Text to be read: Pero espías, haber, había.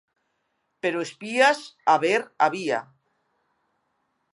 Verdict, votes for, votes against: accepted, 2, 0